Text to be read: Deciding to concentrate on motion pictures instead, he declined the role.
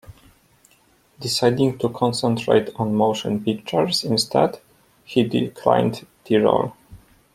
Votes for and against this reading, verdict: 2, 0, accepted